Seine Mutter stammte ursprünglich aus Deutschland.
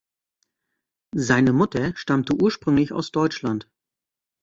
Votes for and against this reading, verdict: 2, 0, accepted